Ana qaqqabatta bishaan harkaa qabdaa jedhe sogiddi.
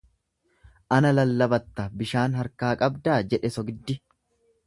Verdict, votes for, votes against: rejected, 1, 2